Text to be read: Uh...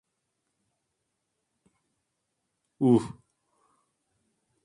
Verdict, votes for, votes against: accepted, 2, 0